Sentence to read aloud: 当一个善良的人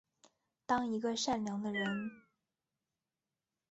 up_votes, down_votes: 2, 0